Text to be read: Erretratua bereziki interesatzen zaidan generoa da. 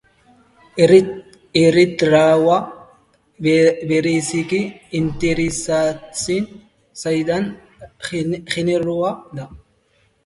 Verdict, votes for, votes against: rejected, 0, 5